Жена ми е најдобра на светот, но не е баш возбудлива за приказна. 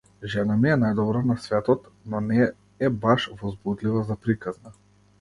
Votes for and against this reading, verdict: 0, 2, rejected